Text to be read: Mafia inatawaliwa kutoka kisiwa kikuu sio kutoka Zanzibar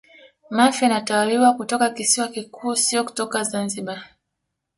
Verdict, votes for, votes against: accepted, 2, 0